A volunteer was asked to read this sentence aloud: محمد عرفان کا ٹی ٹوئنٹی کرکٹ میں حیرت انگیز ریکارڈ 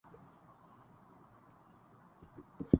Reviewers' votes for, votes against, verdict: 0, 4, rejected